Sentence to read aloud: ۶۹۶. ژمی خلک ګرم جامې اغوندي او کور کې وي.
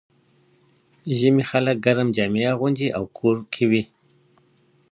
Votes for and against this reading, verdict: 0, 2, rejected